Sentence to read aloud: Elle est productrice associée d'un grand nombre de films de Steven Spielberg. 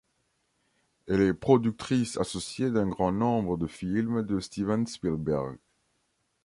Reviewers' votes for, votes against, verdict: 2, 0, accepted